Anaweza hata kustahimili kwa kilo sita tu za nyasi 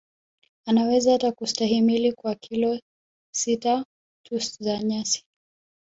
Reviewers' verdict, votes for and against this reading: rejected, 1, 2